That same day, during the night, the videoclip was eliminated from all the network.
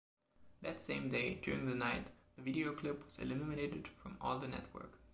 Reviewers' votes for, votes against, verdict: 1, 2, rejected